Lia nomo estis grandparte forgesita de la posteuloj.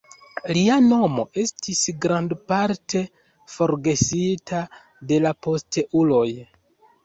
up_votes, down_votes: 2, 0